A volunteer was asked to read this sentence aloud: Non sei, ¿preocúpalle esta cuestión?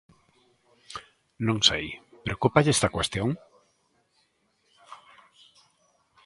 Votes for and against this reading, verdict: 2, 0, accepted